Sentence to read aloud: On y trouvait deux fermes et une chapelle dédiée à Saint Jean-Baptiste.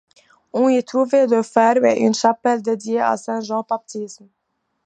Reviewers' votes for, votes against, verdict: 0, 2, rejected